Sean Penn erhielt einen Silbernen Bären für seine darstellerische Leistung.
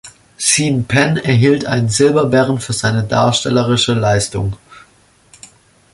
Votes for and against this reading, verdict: 0, 2, rejected